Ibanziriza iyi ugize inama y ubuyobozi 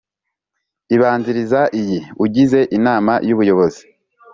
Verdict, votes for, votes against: accepted, 3, 0